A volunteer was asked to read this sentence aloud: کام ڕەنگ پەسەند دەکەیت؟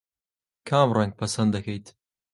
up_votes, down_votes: 5, 0